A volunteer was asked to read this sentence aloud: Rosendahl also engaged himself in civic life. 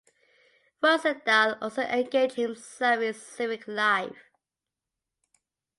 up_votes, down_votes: 2, 0